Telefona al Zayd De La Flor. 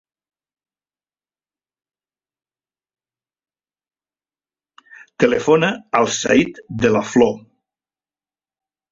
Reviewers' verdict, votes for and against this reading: rejected, 1, 2